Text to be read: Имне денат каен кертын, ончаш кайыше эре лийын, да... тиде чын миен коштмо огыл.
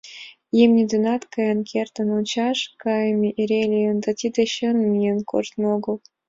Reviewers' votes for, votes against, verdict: 1, 2, rejected